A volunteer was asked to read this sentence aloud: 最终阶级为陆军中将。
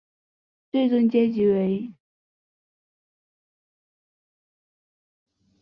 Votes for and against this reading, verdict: 0, 4, rejected